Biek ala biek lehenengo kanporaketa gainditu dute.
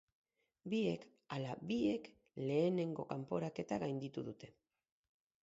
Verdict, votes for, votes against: accepted, 4, 0